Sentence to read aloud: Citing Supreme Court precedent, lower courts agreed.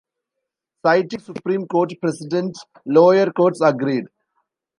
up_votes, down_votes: 0, 2